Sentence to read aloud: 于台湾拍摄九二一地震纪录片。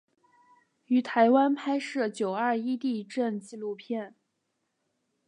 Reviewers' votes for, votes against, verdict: 3, 0, accepted